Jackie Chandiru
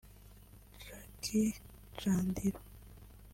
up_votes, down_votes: 2, 1